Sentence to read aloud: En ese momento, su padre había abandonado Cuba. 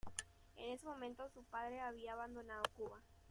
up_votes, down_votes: 1, 2